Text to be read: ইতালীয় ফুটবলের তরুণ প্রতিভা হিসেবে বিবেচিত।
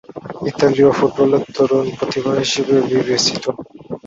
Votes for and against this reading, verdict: 6, 4, accepted